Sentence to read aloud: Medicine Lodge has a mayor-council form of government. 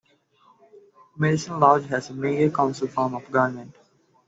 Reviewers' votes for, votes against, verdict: 2, 1, accepted